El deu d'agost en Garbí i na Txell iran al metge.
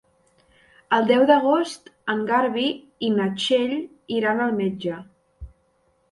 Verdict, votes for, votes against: rejected, 0, 2